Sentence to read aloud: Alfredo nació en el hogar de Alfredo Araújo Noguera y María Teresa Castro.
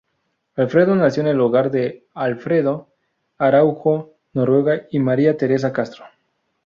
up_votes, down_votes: 2, 2